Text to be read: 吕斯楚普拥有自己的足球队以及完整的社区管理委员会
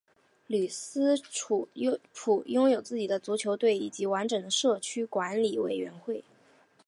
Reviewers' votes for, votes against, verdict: 2, 3, rejected